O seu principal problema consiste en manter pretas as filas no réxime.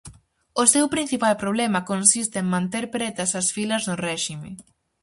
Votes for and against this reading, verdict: 2, 2, rejected